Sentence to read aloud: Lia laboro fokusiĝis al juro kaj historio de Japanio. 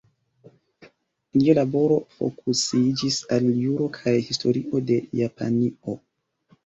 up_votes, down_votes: 2, 1